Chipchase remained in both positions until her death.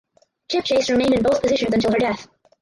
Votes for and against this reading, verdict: 0, 4, rejected